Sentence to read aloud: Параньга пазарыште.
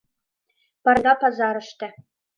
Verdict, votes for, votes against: rejected, 1, 2